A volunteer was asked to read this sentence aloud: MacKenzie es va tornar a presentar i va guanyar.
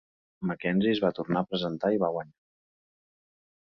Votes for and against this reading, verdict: 1, 2, rejected